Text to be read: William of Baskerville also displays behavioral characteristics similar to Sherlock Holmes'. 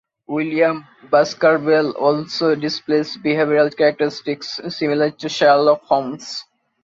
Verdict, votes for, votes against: accepted, 2, 0